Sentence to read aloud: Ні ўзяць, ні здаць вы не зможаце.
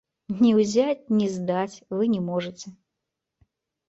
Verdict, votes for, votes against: rejected, 0, 2